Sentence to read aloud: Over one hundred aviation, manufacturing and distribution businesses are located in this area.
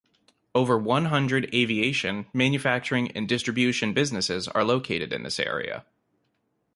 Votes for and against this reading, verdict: 2, 0, accepted